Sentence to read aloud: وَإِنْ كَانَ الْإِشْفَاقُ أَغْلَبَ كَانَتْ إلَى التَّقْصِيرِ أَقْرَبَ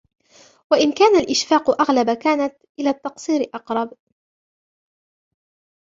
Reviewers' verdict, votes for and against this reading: accepted, 2, 0